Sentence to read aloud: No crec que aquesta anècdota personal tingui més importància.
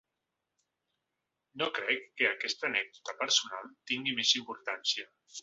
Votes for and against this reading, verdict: 4, 0, accepted